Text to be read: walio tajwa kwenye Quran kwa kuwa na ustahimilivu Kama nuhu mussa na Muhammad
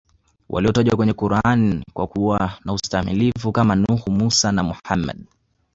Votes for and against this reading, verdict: 0, 2, rejected